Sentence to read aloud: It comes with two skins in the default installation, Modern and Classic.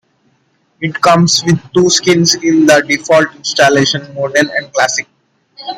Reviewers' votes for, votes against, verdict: 0, 2, rejected